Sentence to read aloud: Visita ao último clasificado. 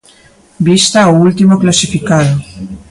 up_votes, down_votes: 0, 2